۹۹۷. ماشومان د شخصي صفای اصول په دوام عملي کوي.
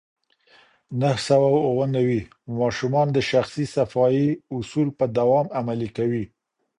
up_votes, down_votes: 0, 2